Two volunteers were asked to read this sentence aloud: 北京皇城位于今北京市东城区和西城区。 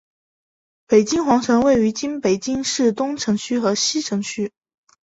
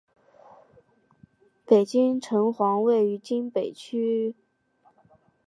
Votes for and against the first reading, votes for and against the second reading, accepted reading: 5, 0, 1, 3, first